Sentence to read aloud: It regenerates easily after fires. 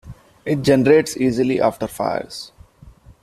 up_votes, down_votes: 0, 2